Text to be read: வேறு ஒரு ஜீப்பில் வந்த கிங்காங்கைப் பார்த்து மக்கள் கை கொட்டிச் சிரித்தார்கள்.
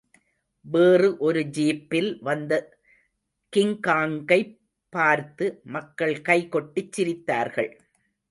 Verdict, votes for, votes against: accepted, 2, 0